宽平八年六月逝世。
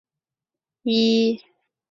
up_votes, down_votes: 0, 3